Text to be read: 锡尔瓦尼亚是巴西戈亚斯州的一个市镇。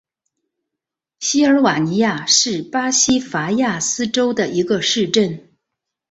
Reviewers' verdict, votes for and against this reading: rejected, 0, 2